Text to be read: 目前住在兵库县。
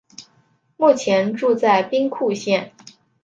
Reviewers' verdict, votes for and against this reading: accepted, 2, 0